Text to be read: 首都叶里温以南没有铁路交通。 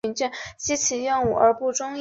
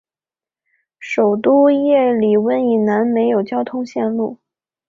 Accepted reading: second